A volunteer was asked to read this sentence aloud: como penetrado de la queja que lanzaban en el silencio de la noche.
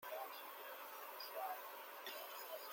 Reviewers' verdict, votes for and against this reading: rejected, 0, 2